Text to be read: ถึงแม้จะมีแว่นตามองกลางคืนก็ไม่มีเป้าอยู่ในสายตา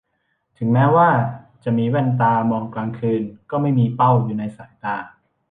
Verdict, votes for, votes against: rejected, 0, 2